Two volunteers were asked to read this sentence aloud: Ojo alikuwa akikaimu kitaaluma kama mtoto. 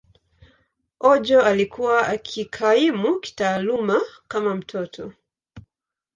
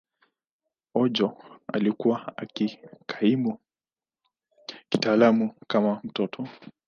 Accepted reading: first